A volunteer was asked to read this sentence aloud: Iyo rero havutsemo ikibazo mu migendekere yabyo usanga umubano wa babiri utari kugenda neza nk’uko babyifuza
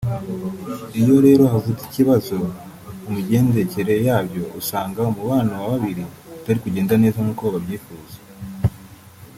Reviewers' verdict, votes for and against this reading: rejected, 2, 4